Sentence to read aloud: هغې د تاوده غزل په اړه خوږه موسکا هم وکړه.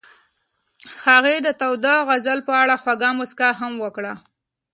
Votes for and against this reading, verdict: 2, 0, accepted